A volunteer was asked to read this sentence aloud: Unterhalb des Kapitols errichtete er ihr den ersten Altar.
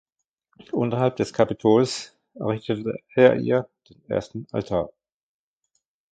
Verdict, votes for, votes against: rejected, 0, 2